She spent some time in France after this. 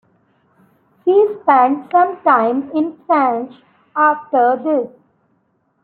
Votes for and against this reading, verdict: 0, 2, rejected